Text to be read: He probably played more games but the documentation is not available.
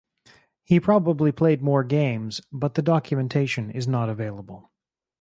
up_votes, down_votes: 4, 0